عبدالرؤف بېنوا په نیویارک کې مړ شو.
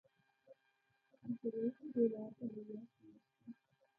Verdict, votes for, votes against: rejected, 0, 2